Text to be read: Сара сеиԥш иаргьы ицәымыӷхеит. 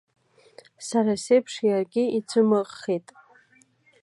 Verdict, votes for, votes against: accepted, 2, 0